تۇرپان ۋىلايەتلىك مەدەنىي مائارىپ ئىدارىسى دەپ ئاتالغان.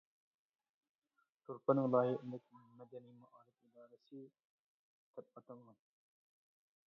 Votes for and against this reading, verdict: 0, 2, rejected